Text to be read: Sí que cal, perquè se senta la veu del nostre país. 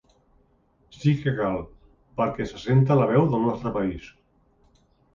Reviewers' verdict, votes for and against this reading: accepted, 3, 0